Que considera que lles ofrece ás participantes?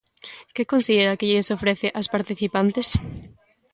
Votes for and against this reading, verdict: 2, 0, accepted